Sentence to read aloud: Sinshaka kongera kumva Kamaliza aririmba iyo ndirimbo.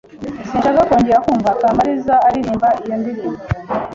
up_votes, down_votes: 2, 0